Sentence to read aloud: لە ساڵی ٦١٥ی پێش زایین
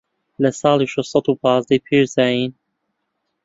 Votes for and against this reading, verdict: 0, 2, rejected